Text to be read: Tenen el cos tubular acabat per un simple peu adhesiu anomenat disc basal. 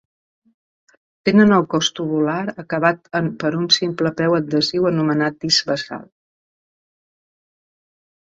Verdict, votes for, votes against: rejected, 0, 2